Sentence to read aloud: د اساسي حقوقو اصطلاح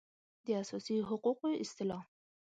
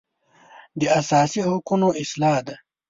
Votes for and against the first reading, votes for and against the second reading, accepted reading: 2, 0, 0, 2, first